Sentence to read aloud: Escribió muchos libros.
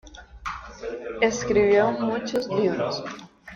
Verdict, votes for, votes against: accepted, 2, 0